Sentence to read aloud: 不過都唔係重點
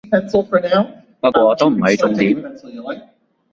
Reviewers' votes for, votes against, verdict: 0, 2, rejected